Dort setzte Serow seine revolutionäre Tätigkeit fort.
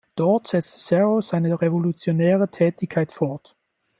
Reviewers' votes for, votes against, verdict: 2, 0, accepted